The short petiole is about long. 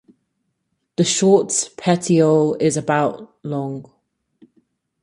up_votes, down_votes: 4, 2